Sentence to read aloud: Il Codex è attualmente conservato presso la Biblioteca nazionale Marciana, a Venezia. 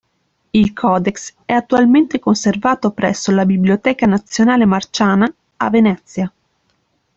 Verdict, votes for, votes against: accepted, 3, 1